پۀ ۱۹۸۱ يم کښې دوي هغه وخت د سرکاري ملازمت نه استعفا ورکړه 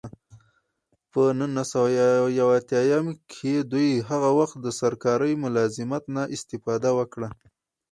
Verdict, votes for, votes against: rejected, 0, 2